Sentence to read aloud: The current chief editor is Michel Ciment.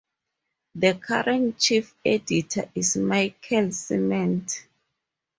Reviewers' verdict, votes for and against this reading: accepted, 4, 0